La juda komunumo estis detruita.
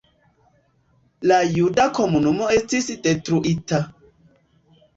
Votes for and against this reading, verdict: 2, 1, accepted